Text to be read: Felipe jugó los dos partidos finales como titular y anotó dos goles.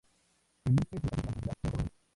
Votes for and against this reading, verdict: 0, 2, rejected